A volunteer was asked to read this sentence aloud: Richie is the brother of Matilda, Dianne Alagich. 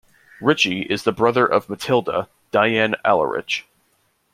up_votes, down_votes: 1, 2